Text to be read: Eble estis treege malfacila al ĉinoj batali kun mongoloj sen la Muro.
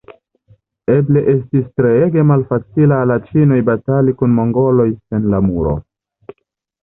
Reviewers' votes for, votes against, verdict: 2, 1, accepted